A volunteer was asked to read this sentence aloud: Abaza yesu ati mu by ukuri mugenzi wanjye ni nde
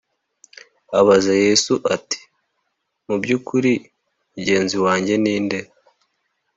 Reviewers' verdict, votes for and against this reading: accepted, 2, 0